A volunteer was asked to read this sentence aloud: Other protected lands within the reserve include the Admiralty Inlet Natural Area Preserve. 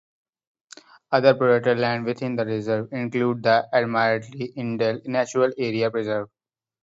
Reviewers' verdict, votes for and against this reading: rejected, 0, 2